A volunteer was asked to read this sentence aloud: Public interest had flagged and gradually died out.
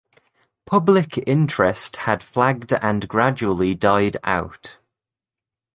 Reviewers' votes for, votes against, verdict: 2, 0, accepted